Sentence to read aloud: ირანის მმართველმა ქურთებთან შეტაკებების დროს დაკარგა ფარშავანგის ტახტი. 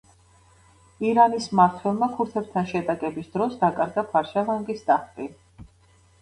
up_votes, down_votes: 1, 2